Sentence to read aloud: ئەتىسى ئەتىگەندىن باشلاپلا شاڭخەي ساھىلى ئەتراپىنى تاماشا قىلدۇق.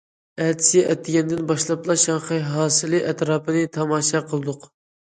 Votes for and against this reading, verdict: 0, 2, rejected